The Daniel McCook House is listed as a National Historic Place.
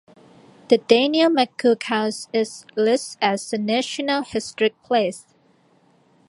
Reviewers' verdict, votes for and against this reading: accepted, 2, 1